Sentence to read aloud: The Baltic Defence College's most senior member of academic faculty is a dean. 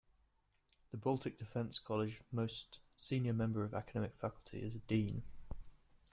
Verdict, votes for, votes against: accepted, 2, 1